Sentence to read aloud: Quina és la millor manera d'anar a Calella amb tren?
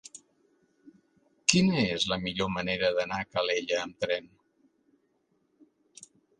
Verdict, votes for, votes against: accepted, 3, 0